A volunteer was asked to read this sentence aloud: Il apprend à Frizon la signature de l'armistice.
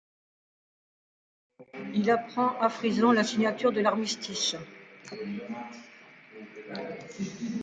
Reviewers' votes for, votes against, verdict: 2, 0, accepted